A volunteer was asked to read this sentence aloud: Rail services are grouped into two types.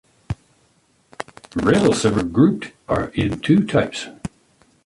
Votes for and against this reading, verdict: 2, 1, accepted